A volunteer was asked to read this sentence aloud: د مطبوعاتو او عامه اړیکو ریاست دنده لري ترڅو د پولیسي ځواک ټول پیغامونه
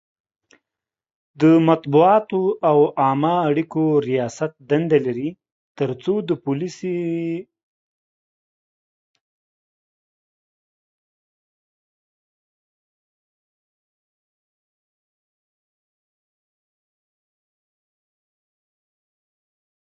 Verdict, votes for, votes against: rejected, 0, 2